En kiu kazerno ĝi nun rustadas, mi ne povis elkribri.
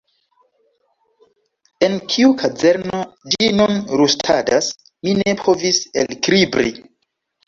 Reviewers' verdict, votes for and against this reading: rejected, 1, 2